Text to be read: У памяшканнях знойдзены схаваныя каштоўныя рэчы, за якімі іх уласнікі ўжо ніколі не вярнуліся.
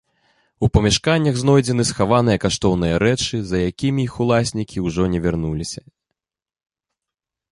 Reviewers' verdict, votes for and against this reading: rejected, 1, 2